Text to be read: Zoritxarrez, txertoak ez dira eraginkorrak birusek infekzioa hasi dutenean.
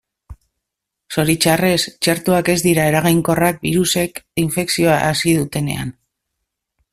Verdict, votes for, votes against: accepted, 2, 0